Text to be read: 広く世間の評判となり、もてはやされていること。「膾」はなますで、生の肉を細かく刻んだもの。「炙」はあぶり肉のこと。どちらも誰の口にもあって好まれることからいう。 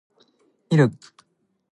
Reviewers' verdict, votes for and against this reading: rejected, 0, 2